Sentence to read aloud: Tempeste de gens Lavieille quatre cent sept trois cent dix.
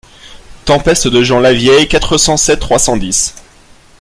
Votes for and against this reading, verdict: 2, 0, accepted